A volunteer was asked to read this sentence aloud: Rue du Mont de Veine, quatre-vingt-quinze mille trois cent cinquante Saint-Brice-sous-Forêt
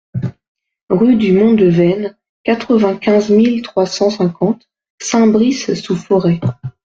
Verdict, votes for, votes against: accepted, 2, 0